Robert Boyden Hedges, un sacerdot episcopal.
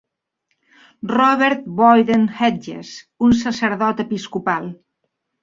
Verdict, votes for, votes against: accepted, 3, 0